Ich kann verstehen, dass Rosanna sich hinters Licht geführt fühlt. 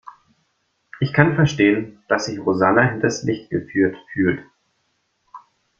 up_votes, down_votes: 1, 2